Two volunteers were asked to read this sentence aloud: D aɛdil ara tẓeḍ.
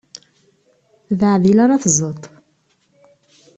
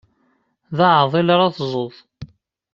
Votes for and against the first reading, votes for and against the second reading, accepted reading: 2, 0, 0, 2, first